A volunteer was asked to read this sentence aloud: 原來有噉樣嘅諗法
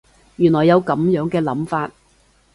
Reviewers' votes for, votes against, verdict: 2, 0, accepted